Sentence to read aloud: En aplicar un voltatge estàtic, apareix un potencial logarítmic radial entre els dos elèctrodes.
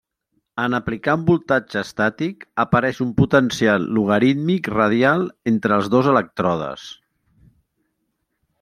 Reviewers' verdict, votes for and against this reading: rejected, 1, 2